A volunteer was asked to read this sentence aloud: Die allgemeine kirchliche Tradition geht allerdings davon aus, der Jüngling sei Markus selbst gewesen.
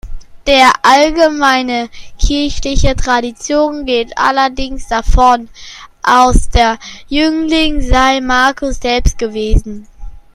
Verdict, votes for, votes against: rejected, 0, 2